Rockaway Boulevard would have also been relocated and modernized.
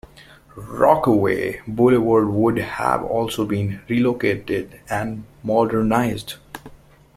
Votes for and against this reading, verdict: 2, 0, accepted